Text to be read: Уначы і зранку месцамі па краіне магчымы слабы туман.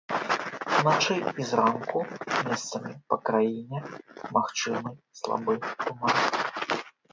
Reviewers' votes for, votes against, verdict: 1, 2, rejected